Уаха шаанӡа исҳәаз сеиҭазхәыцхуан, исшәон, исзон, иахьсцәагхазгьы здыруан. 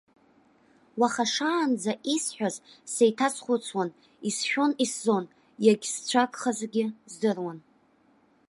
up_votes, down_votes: 1, 2